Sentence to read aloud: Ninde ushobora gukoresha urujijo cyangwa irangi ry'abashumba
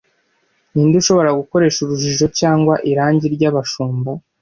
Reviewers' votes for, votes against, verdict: 2, 0, accepted